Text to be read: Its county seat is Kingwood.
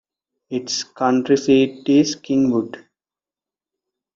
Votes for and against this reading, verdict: 1, 2, rejected